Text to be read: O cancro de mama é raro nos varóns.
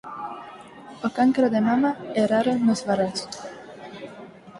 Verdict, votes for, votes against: accepted, 4, 2